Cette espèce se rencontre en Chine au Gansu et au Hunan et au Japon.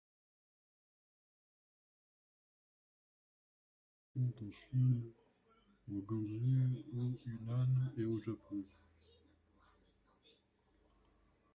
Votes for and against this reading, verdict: 0, 2, rejected